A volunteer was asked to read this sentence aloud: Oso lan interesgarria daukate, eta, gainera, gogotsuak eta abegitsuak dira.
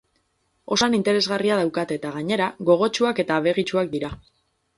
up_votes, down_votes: 2, 4